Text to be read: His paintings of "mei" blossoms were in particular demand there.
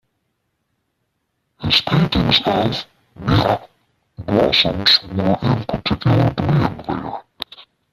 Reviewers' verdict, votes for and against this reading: rejected, 0, 2